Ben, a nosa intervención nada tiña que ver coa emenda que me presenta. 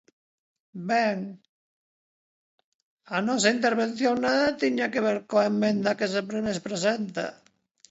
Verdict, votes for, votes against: rejected, 0, 2